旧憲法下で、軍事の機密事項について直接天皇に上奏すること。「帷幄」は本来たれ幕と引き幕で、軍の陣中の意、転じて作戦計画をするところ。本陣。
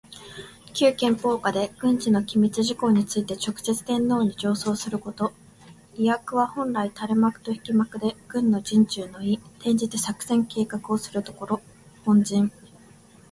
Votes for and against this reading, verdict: 2, 0, accepted